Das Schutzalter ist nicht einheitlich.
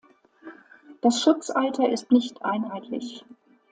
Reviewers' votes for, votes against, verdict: 2, 0, accepted